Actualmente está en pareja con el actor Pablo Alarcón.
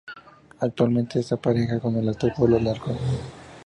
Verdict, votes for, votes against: rejected, 0, 2